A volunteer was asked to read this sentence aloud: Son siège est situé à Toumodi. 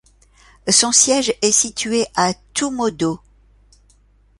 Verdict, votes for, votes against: rejected, 0, 2